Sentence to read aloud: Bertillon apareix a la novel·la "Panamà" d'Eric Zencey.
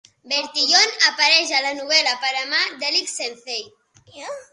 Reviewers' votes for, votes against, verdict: 2, 1, accepted